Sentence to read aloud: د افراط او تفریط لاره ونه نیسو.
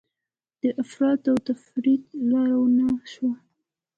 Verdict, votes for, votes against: accepted, 2, 0